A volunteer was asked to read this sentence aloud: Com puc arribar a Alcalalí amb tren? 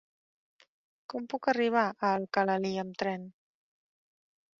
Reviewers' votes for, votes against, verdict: 3, 0, accepted